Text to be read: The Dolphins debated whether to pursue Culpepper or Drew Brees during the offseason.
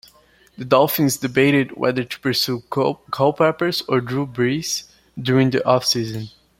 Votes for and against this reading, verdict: 0, 2, rejected